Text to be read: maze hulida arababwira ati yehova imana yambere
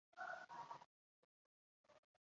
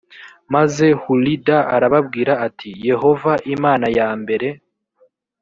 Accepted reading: second